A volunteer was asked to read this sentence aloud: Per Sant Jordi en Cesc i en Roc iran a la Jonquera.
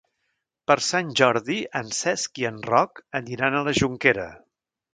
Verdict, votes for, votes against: rejected, 0, 2